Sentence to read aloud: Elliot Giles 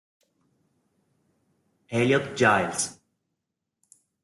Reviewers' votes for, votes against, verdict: 1, 2, rejected